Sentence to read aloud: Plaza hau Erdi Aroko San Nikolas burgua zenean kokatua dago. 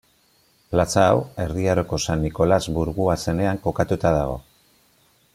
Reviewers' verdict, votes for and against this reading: accepted, 2, 0